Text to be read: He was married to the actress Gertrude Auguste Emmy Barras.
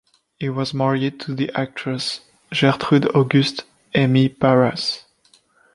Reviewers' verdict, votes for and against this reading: rejected, 1, 2